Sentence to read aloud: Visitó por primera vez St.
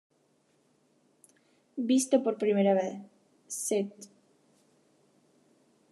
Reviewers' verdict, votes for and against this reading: rejected, 0, 2